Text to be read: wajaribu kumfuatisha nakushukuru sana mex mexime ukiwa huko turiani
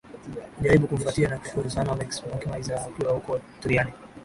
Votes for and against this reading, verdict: 0, 2, rejected